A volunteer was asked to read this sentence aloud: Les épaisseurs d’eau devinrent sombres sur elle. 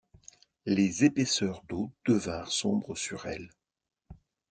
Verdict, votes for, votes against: accepted, 2, 0